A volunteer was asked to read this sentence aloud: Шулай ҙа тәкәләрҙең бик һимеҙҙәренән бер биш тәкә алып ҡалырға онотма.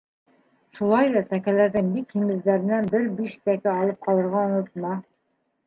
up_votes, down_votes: 2, 0